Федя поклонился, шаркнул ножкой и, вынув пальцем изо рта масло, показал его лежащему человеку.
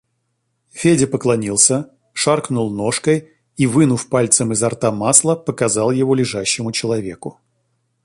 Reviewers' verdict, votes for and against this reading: accepted, 2, 0